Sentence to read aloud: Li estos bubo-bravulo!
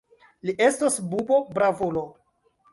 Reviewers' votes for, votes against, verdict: 2, 0, accepted